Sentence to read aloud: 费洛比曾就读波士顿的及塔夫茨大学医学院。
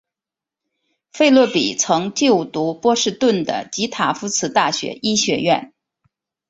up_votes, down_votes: 2, 0